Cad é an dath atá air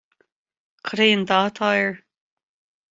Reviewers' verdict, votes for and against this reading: accepted, 2, 0